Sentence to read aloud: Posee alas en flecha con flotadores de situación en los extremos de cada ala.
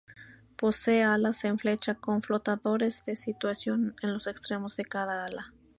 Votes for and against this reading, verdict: 2, 2, rejected